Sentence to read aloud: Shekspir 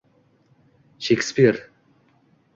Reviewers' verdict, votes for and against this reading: accepted, 2, 0